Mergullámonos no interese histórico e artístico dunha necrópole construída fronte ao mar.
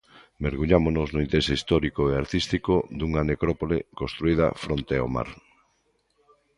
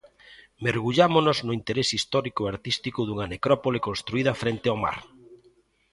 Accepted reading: first